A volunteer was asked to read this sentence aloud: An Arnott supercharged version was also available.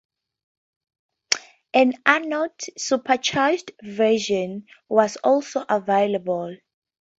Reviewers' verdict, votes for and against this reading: accepted, 4, 0